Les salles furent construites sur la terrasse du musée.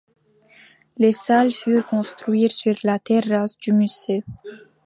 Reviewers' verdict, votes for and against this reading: accepted, 2, 1